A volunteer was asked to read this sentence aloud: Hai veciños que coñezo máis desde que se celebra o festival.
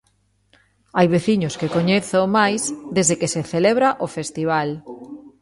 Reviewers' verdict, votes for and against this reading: rejected, 1, 2